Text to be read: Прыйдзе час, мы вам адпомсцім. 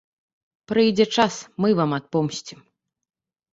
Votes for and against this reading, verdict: 2, 0, accepted